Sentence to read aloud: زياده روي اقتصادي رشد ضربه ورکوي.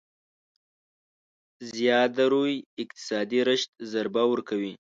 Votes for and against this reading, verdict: 2, 0, accepted